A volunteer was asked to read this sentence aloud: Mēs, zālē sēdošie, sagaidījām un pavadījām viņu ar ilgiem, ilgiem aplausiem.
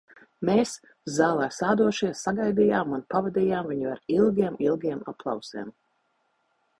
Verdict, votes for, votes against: rejected, 0, 2